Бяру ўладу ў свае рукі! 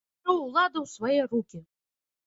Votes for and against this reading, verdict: 1, 2, rejected